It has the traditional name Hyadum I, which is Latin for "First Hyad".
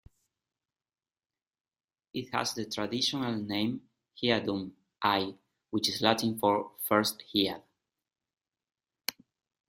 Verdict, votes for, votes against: rejected, 0, 2